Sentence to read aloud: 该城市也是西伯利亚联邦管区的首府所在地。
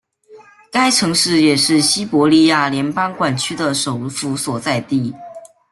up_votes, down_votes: 2, 0